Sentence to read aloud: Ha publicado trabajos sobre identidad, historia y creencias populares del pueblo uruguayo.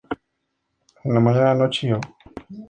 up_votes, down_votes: 0, 2